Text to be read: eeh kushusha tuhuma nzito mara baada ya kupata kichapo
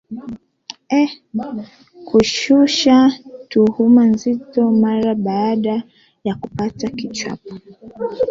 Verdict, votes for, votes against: rejected, 0, 2